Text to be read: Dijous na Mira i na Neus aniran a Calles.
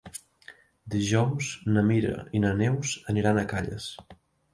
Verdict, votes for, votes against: accepted, 2, 0